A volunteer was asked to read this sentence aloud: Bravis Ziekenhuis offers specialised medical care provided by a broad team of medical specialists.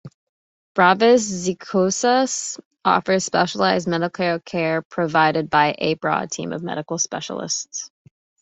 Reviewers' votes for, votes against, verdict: 1, 2, rejected